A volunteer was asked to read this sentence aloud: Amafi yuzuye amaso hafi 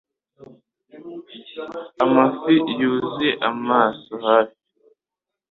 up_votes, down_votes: 2, 0